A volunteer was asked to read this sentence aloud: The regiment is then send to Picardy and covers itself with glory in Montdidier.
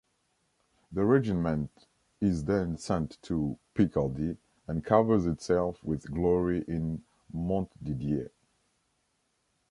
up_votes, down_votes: 2, 0